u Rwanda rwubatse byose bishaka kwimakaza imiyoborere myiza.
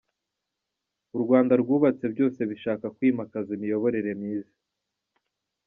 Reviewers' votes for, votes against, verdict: 2, 0, accepted